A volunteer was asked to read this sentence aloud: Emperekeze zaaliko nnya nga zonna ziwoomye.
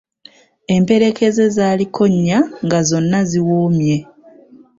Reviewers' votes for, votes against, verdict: 3, 0, accepted